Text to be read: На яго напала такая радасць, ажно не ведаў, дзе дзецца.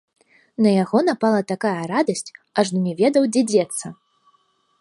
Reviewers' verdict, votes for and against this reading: accepted, 2, 0